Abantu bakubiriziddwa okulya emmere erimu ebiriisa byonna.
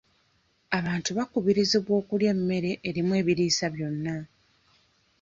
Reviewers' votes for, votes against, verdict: 1, 2, rejected